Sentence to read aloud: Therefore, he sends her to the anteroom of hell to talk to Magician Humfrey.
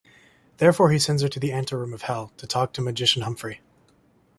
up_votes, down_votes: 2, 1